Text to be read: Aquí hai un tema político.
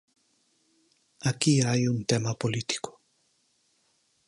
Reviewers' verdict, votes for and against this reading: accepted, 4, 0